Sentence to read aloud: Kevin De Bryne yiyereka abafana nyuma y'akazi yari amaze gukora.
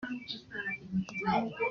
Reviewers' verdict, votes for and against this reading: rejected, 0, 2